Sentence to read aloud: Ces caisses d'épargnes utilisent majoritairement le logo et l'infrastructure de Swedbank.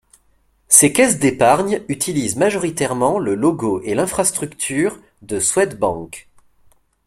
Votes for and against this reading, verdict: 2, 0, accepted